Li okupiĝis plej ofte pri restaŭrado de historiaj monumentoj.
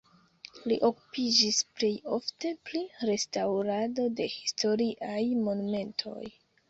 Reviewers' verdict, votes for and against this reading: rejected, 1, 2